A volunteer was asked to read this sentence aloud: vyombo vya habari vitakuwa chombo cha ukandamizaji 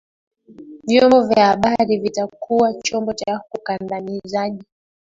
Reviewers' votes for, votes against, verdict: 0, 2, rejected